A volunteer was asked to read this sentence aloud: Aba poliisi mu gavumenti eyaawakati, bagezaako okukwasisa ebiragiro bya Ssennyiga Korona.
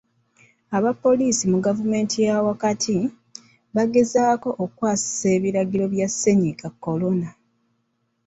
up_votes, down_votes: 2, 0